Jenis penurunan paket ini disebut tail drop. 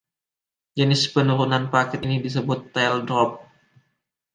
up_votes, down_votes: 1, 2